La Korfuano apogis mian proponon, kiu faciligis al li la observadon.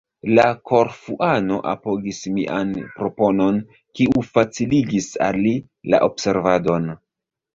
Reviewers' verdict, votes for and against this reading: rejected, 1, 2